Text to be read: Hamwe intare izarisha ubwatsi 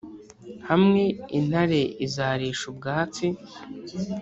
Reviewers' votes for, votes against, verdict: 3, 0, accepted